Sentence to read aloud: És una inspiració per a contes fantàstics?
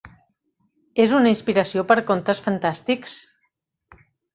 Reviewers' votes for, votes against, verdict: 1, 2, rejected